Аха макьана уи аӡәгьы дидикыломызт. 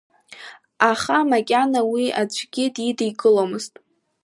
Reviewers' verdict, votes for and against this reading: accepted, 2, 0